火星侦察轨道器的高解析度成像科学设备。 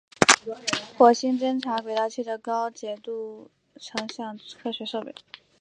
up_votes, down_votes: 1, 2